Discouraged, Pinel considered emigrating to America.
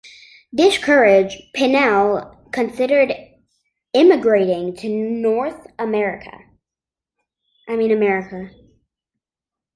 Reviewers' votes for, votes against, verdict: 0, 3, rejected